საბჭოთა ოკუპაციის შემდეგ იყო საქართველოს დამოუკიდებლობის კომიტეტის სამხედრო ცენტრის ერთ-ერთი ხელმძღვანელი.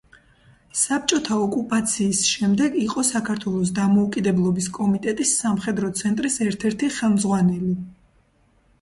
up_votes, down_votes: 0, 2